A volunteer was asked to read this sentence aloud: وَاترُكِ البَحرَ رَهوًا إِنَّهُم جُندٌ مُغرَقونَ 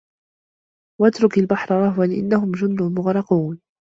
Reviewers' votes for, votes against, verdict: 1, 2, rejected